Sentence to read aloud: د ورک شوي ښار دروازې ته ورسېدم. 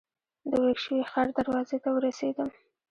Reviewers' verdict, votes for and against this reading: rejected, 1, 2